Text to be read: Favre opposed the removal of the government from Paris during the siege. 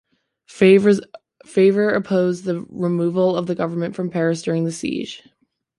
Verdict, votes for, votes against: accepted, 2, 0